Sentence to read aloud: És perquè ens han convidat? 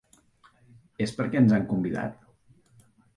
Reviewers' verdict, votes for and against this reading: accepted, 4, 0